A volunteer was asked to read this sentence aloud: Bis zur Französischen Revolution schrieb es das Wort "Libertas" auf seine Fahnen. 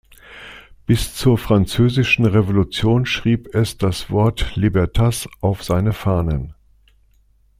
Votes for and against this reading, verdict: 2, 0, accepted